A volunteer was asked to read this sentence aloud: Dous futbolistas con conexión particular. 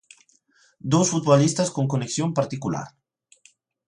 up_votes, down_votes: 2, 0